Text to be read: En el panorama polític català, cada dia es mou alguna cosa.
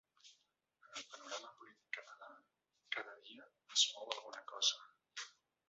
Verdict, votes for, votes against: rejected, 0, 2